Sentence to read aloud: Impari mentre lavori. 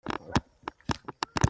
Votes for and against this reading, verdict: 0, 2, rejected